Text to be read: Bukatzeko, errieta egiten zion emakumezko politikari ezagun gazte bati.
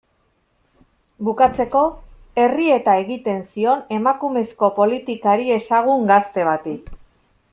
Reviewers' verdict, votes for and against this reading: accepted, 2, 0